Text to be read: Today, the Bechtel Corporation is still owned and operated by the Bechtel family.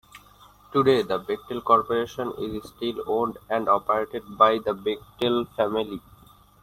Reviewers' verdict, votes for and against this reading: rejected, 1, 2